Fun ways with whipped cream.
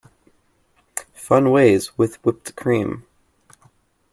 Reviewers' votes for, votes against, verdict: 2, 0, accepted